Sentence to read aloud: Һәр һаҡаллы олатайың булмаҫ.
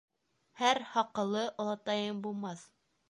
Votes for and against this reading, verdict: 0, 2, rejected